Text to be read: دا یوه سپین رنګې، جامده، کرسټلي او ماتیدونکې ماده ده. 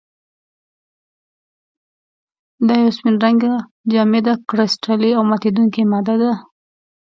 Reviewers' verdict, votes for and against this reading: rejected, 0, 2